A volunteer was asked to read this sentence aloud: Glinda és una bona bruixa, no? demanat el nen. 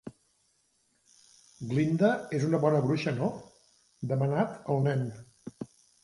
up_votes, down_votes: 3, 0